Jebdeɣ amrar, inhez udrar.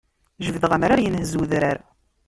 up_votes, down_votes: 0, 2